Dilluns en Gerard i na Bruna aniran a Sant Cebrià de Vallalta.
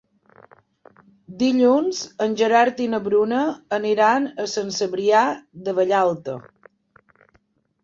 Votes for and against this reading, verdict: 5, 0, accepted